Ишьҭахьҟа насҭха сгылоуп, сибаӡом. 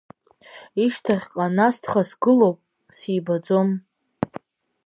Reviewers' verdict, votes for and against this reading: accepted, 2, 0